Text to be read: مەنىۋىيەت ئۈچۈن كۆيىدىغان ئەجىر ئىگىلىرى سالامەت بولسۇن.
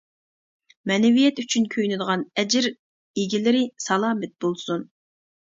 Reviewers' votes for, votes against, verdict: 0, 2, rejected